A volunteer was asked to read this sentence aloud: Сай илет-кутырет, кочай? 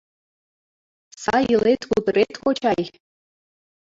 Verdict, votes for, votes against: accepted, 2, 0